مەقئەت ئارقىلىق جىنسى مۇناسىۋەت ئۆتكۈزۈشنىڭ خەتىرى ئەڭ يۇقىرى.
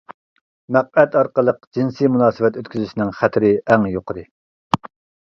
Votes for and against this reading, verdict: 2, 0, accepted